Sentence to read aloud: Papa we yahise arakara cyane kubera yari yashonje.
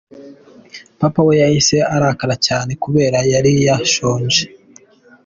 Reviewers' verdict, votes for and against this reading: accepted, 3, 1